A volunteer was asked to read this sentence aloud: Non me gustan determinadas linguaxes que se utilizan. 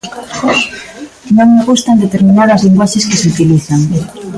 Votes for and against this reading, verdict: 1, 2, rejected